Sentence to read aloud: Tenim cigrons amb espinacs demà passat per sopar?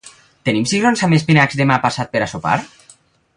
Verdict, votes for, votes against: rejected, 0, 2